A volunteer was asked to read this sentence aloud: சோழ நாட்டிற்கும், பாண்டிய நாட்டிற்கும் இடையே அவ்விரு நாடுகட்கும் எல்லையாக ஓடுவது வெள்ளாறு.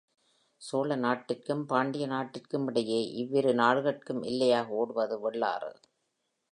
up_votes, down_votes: 3, 0